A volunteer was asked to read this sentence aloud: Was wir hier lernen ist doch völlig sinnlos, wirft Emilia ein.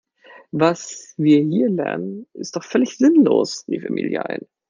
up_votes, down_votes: 1, 2